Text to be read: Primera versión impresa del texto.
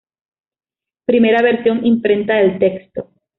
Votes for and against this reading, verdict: 1, 2, rejected